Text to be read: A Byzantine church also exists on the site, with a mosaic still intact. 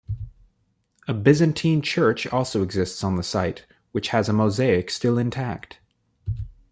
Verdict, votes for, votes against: rejected, 1, 2